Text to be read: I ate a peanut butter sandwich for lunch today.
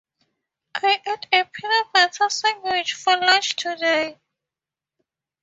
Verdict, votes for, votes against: accepted, 2, 0